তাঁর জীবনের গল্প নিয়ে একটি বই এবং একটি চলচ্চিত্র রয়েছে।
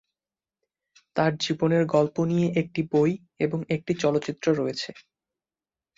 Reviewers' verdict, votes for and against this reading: accepted, 2, 0